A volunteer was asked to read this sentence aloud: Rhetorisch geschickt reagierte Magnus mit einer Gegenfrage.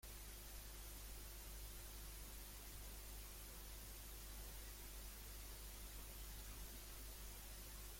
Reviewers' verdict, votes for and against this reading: rejected, 0, 2